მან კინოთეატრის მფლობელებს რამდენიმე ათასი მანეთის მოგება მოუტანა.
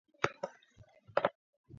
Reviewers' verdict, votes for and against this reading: rejected, 0, 2